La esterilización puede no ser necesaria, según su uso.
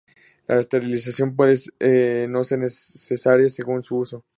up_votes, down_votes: 0, 2